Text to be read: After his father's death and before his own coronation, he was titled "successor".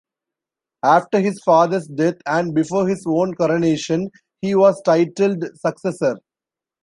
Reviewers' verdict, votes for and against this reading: accepted, 2, 0